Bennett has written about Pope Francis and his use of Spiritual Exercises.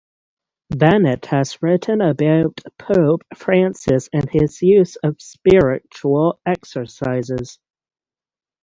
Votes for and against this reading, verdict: 6, 3, accepted